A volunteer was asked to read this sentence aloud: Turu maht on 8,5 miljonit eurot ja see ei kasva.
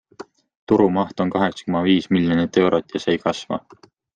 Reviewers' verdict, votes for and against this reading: rejected, 0, 2